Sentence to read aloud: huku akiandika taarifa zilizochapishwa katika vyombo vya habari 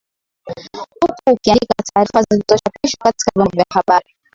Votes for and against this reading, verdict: 8, 29, rejected